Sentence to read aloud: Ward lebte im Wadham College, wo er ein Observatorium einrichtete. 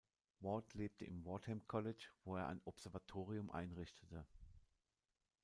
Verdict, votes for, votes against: accepted, 2, 0